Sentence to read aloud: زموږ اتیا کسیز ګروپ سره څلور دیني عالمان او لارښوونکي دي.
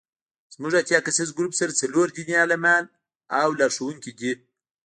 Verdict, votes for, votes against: accepted, 2, 0